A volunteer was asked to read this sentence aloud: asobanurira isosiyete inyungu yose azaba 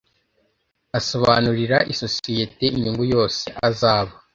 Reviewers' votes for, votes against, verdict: 2, 0, accepted